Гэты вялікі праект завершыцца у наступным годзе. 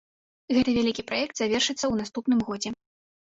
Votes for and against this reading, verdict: 2, 0, accepted